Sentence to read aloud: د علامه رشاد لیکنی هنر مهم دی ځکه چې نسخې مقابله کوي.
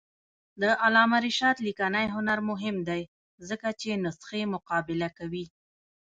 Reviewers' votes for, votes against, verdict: 1, 2, rejected